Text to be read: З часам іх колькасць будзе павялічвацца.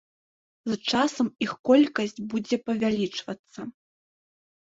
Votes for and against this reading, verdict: 2, 3, rejected